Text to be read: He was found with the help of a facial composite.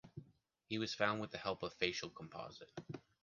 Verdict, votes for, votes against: rejected, 1, 2